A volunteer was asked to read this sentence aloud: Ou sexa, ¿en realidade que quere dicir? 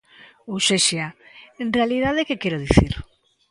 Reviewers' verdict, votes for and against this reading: accepted, 2, 0